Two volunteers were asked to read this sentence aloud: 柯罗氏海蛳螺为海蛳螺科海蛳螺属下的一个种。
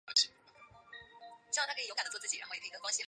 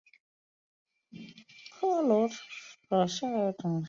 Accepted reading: second